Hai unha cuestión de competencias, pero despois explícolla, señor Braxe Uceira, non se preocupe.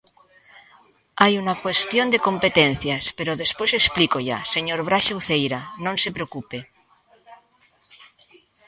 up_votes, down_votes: 1, 2